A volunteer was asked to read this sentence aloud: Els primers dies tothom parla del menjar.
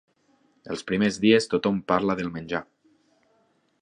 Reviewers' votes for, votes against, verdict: 3, 0, accepted